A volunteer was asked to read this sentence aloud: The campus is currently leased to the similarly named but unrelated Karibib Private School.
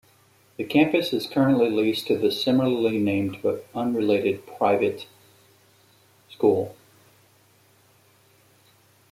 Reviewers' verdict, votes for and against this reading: rejected, 0, 2